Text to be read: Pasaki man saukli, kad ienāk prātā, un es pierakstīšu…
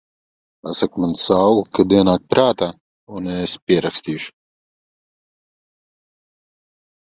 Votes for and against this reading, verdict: 1, 2, rejected